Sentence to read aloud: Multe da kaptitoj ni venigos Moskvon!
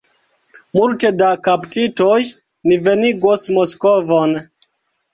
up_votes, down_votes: 1, 2